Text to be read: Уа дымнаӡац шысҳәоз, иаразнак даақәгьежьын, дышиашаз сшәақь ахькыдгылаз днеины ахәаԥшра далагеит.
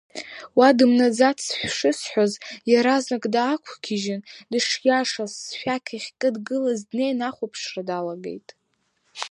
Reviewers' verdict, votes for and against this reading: accepted, 2, 0